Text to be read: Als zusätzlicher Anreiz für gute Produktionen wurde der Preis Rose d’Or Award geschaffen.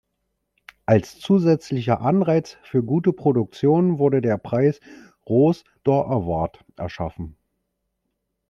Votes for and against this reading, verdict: 1, 2, rejected